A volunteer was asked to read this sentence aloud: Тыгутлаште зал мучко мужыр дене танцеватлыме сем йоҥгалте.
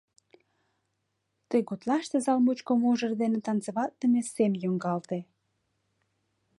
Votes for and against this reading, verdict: 2, 0, accepted